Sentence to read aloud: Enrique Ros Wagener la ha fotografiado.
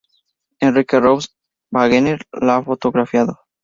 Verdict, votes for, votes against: rejected, 2, 4